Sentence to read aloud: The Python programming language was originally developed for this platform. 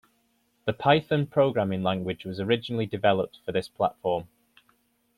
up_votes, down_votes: 2, 1